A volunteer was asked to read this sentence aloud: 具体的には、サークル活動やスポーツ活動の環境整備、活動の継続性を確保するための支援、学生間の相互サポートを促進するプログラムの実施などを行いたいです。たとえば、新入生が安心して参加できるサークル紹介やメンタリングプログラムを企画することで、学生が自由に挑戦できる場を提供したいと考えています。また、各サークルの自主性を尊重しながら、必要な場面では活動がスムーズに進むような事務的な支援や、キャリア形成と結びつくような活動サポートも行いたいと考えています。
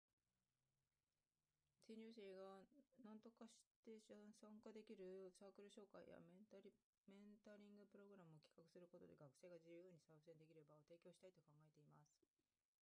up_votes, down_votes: 0, 3